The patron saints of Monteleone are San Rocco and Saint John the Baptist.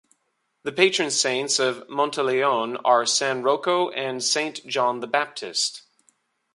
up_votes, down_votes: 2, 1